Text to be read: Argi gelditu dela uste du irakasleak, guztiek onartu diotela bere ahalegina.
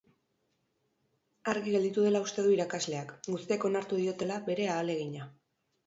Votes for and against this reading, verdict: 2, 0, accepted